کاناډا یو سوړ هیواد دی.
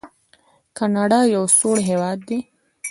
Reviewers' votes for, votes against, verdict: 2, 0, accepted